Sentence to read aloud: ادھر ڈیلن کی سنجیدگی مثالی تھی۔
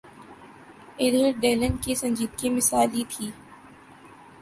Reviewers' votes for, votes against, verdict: 3, 0, accepted